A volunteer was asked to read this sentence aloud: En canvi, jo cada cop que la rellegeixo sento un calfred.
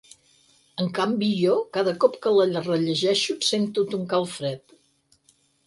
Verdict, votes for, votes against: rejected, 0, 4